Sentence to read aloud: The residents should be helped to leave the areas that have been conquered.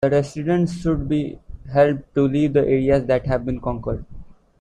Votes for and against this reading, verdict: 1, 2, rejected